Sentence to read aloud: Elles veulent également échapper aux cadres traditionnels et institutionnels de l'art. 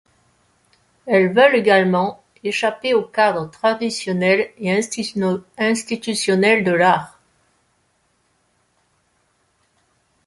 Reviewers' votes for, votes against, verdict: 0, 2, rejected